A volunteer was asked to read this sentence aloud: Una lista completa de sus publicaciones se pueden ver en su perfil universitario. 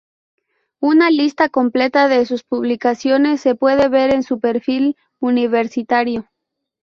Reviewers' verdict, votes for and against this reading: accepted, 4, 2